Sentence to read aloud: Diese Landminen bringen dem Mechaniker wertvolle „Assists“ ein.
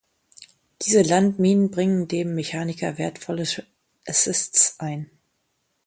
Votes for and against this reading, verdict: 0, 2, rejected